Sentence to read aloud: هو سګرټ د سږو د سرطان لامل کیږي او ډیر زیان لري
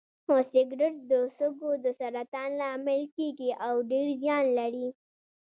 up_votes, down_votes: 2, 1